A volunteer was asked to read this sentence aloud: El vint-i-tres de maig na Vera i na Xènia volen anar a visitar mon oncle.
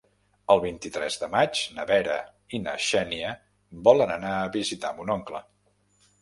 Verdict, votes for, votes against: accepted, 4, 0